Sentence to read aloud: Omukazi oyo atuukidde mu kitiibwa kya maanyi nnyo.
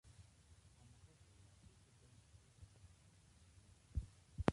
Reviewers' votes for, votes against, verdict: 0, 2, rejected